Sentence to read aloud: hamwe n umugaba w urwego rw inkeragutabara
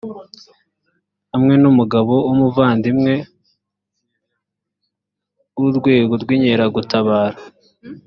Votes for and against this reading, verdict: 1, 2, rejected